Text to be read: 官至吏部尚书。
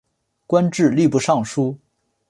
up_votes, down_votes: 3, 0